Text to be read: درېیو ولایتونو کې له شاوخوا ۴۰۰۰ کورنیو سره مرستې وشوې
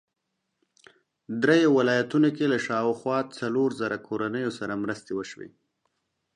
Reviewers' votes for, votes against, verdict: 0, 2, rejected